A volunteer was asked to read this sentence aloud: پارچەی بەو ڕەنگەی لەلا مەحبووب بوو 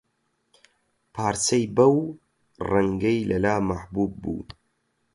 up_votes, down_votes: 8, 0